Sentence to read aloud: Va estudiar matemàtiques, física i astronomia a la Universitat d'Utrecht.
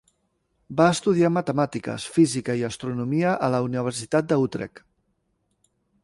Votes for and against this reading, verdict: 0, 2, rejected